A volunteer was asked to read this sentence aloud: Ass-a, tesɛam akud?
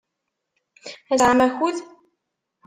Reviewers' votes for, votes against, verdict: 0, 2, rejected